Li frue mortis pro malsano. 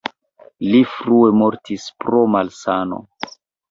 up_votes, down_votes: 1, 2